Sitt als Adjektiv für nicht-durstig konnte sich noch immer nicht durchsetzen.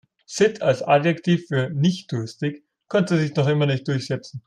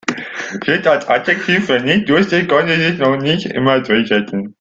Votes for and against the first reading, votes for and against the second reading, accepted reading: 2, 1, 0, 2, first